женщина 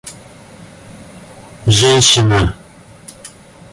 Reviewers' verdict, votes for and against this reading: accepted, 2, 0